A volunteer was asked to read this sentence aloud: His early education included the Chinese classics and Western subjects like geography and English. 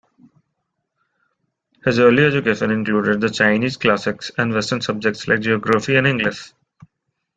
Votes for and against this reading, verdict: 1, 3, rejected